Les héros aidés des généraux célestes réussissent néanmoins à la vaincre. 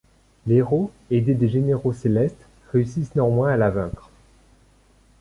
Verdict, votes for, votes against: accepted, 2, 1